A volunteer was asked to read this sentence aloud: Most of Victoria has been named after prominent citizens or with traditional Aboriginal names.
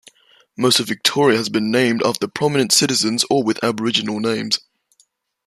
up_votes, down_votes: 1, 2